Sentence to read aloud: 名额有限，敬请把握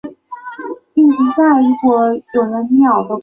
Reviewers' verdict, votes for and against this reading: rejected, 1, 6